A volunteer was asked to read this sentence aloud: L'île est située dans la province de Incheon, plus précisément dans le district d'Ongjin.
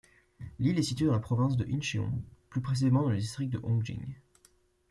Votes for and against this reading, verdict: 2, 0, accepted